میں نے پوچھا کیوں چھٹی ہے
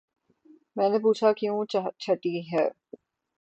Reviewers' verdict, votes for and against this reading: rejected, 6, 9